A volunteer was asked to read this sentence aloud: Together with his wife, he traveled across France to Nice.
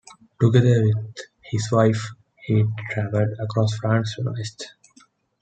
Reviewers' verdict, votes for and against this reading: rejected, 1, 2